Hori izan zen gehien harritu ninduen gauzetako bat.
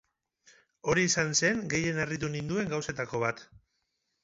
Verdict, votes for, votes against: accepted, 2, 0